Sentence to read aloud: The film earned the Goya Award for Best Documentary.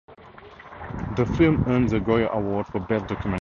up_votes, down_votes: 0, 4